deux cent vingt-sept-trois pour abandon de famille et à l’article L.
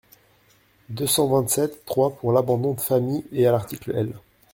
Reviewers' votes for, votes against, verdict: 0, 2, rejected